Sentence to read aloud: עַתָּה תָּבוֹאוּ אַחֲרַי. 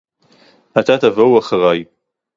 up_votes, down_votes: 4, 0